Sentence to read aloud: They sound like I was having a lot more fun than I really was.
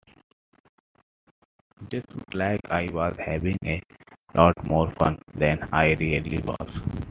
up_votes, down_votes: 0, 2